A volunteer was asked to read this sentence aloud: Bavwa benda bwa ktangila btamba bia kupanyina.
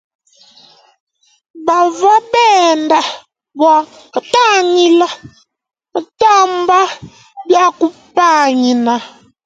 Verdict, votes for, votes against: rejected, 0, 2